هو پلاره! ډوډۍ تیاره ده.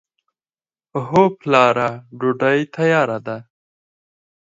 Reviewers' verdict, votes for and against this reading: accepted, 4, 0